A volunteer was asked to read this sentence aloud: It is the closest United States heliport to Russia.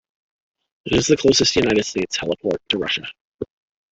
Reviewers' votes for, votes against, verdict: 2, 0, accepted